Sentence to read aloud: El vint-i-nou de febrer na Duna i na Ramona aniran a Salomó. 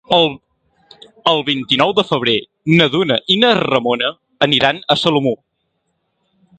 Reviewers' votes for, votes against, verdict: 1, 2, rejected